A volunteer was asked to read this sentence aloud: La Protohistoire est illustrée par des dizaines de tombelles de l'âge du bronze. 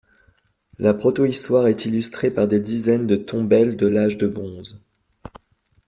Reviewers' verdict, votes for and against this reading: rejected, 1, 2